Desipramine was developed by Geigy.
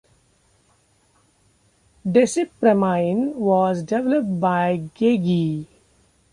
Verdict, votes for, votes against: accepted, 2, 0